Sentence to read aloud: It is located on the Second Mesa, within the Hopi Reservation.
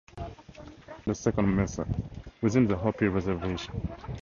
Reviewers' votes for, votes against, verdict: 0, 2, rejected